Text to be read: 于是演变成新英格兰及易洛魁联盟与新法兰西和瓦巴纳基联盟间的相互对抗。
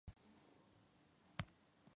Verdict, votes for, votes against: rejected, 0, 2